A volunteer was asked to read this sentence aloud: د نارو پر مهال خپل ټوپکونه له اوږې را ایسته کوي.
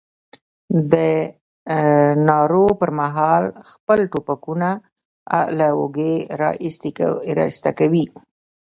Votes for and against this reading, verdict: 0, 2, rejected